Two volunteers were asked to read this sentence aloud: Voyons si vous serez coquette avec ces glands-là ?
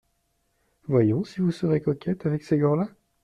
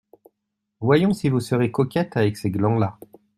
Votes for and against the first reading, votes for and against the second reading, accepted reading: 1, 2, 2, 0, second